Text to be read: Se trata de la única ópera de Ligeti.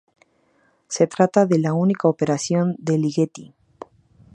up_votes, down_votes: 2, 2